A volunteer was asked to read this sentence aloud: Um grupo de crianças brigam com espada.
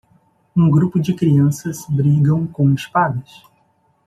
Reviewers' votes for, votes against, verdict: 0, 2, rejected